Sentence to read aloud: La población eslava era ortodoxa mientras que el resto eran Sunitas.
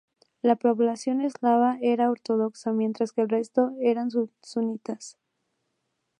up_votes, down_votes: 0, 2